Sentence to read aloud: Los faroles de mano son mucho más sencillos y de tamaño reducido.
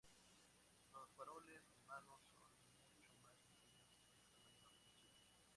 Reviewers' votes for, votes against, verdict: 0, 2, rejected